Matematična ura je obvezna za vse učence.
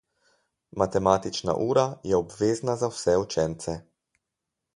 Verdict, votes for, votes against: accepted, 4, 0